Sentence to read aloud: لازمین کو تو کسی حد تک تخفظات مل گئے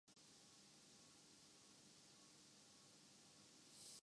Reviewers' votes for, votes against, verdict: 0, 2, rejected